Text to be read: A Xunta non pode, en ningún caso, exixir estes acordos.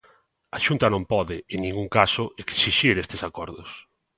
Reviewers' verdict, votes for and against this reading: accepted, 2, 0